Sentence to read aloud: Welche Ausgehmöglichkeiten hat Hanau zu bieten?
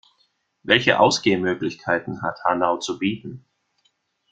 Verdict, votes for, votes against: accepted, 2, 0